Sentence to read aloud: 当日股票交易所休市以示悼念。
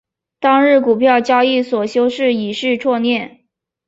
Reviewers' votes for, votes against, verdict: 1, 2, rejected